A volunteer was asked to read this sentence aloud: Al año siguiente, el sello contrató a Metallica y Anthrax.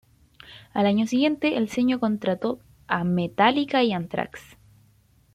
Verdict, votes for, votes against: rejected, 1, 2